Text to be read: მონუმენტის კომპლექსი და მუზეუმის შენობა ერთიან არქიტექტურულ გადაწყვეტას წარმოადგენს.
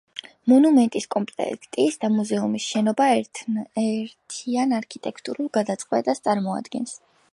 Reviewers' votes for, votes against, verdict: 0, 2, rejected